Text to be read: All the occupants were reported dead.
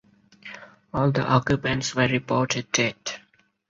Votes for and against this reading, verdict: 4, 0, accepted